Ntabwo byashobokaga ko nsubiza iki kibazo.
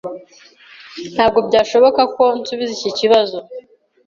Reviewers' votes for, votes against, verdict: 0, 2, rejected